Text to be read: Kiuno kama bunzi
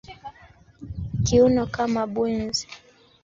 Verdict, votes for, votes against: rejected, 1, 2